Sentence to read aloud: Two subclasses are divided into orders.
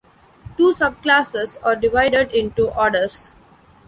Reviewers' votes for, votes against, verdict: 2, 0, accepted